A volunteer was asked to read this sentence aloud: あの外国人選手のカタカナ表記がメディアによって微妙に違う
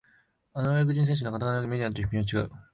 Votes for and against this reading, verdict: 1, 2, rejected